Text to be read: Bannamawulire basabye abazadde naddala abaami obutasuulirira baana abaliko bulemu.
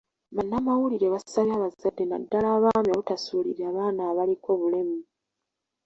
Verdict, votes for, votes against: rejected, 1, 2